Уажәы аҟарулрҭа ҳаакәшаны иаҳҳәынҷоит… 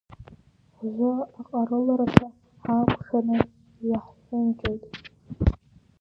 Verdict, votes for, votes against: rejected, 0, 2